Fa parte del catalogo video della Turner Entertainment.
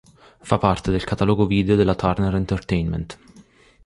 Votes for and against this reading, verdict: 4, 0, accepted